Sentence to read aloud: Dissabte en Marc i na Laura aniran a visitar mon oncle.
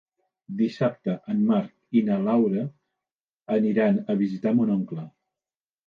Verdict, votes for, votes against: accepted, 2, 0